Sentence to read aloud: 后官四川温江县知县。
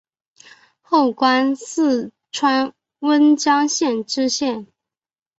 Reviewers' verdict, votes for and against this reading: accepted, 4, 1